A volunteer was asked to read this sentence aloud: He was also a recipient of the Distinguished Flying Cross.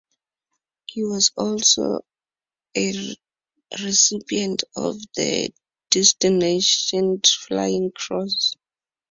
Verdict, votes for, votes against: rejected, 0, 2